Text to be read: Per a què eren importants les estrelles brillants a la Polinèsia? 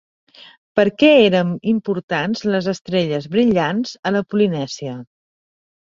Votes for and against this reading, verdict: 1, 2, rejected